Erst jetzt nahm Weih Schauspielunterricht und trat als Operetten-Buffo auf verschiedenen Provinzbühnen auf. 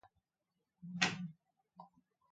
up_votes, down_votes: 0, 2